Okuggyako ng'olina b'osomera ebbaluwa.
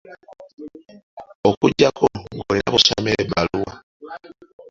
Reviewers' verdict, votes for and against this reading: accepted, 2, 0